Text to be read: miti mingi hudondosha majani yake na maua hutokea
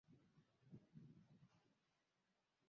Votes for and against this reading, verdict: 0, 2, rejected